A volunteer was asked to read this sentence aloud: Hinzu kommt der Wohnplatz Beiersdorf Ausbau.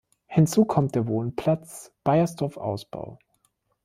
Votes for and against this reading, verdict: 2, 0, accepted